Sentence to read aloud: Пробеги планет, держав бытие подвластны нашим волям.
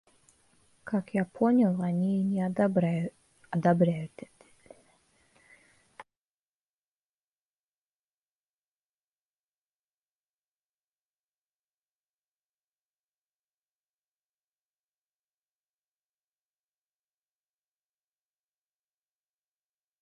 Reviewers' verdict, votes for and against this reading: rejected, 0, 2